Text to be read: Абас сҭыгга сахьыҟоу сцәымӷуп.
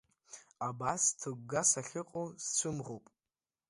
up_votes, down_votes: 2, 0